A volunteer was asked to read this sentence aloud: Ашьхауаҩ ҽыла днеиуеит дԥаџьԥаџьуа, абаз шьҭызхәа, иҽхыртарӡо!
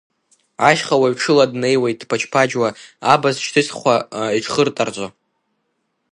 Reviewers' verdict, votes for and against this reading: accepted, 2, 0